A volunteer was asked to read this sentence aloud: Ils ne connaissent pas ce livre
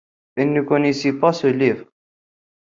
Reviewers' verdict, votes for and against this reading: rejected, 1, 2